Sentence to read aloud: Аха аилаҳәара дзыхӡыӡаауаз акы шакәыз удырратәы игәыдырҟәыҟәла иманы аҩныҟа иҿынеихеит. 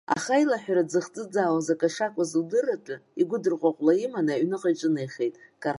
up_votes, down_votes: 0, 2